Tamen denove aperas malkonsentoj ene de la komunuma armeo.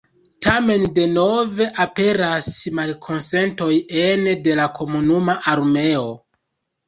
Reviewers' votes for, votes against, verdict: 1, 2, rejected